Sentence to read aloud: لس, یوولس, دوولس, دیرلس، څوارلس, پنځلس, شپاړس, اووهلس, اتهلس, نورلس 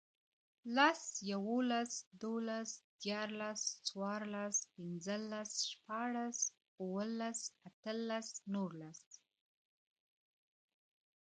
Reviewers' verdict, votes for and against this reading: accepted, 2, 0